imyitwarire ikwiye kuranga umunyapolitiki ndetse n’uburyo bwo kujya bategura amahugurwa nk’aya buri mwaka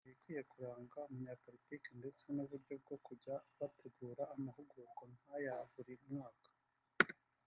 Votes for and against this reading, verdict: 2, 0, accepted